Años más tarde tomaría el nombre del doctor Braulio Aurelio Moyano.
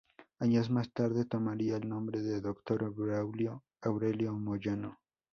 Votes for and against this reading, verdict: 4, 2, accepted